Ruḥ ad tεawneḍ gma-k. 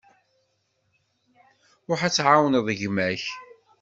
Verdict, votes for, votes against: accepted, 2, 0